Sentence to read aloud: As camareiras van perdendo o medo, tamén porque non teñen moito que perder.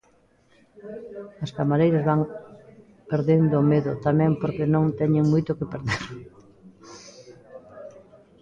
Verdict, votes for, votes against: rejected, 1, 2